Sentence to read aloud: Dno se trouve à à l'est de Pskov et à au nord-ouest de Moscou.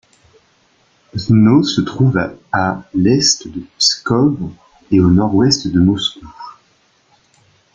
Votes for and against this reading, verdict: 1, 2, rejected